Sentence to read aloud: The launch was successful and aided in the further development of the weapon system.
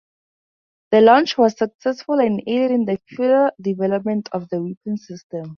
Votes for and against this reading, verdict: 0, 2, rejected